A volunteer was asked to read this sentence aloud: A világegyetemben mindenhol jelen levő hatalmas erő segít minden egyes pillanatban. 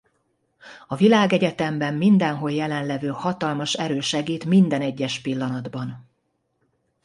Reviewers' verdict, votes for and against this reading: accepted, 2, 0